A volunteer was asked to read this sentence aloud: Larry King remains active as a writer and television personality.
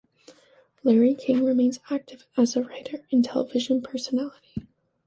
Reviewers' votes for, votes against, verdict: 0, 2, rejected